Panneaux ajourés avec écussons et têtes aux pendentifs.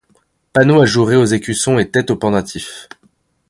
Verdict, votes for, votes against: accepted, 2, 1